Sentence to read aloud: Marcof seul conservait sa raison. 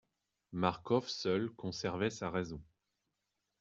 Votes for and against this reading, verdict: 2, 0, accepted